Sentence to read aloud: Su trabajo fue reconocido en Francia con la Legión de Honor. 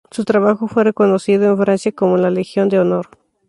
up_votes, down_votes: 2, 0